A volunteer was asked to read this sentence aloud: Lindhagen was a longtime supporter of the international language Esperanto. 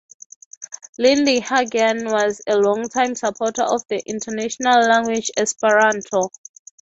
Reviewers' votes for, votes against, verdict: 3, 3, rejected